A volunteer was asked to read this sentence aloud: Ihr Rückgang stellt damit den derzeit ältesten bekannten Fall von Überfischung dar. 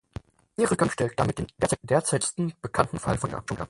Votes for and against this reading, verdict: 0, 6, rejected